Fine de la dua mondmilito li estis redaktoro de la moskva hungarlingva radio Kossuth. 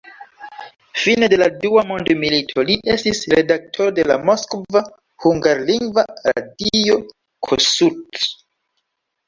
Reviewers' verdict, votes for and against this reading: rejected, 0, 2